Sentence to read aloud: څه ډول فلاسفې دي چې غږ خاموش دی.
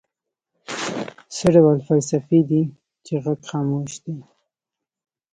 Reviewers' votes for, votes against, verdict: 0, 2, rejected